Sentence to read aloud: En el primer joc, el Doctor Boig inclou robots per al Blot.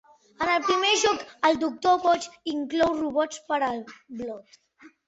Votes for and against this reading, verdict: 3, 0, accepted